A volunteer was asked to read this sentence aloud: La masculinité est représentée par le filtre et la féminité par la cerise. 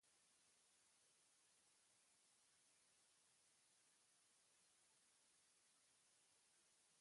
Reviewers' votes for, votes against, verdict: 0, 2, rejected